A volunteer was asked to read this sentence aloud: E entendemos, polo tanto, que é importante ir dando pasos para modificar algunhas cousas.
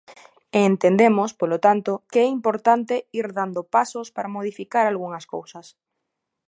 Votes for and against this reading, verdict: 2, 0, accepted